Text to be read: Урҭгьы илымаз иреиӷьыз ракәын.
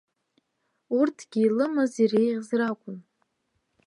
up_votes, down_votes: 0, 2